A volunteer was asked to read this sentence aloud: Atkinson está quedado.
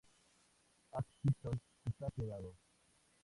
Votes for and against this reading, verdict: 0, 6, rejected